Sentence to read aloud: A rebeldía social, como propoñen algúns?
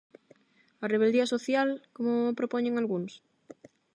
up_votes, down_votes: 4, 4